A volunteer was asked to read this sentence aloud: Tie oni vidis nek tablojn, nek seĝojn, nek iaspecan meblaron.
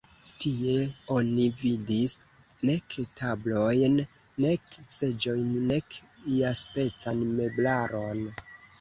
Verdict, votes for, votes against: accepted, 2, 0